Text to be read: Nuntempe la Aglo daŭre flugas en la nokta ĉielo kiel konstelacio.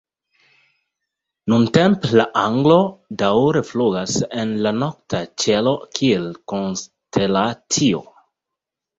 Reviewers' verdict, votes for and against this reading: rejected, 1, 2